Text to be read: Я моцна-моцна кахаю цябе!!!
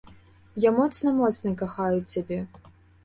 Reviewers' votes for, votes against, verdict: 2, 0, accepted